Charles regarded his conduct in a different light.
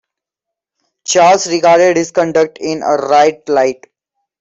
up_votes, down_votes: 0, 2